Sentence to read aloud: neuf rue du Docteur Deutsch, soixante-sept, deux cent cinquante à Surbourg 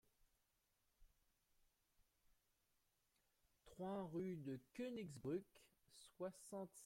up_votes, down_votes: 1, 2